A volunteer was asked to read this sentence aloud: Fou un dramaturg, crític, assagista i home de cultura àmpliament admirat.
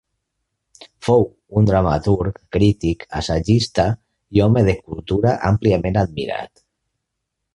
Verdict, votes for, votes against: accepted, 2, 0